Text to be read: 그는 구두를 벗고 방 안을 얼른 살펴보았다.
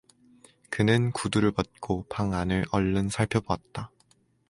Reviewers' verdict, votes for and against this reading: accepted, 2, 0